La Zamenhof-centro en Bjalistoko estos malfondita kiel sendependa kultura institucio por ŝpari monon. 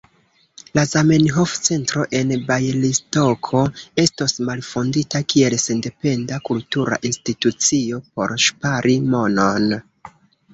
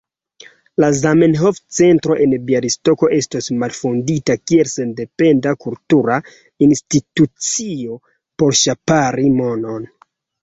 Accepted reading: first